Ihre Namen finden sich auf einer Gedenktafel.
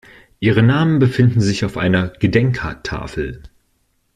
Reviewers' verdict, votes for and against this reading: rejected, 0, 2